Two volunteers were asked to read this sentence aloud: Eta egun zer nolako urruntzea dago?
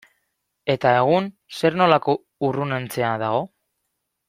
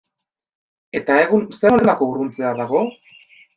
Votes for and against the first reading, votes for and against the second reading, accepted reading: 1, 2, 2, 1, second